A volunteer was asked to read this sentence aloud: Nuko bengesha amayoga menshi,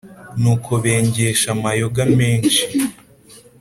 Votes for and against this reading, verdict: 2, 0, accepted